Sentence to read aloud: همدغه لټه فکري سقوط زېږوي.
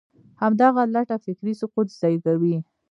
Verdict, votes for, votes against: rejected, 0, 2